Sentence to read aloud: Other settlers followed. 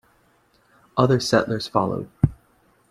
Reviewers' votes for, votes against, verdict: 2, 0, accepted